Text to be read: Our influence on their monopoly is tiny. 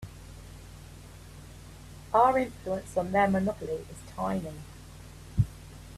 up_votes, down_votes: 2, 0